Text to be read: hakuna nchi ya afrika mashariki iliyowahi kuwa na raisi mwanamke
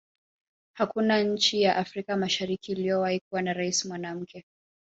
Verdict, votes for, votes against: rejected, 0, 2